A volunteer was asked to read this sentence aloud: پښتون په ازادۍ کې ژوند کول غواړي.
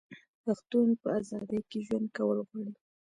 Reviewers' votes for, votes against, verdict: 0, 2, rejected